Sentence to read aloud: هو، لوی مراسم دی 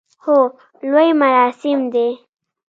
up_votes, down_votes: 2, 0